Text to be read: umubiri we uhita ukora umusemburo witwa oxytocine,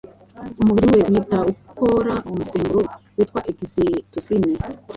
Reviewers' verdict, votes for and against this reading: rejected, 0, 2